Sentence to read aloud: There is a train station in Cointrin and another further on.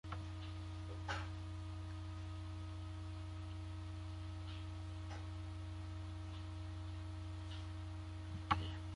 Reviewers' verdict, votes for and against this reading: rejected, 1, 2